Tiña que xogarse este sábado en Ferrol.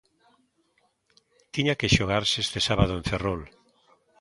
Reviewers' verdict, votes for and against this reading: accepted, 2, 0